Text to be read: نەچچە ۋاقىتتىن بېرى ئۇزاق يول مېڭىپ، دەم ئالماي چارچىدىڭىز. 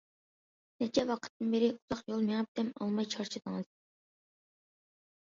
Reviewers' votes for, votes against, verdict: 2, 0, accepted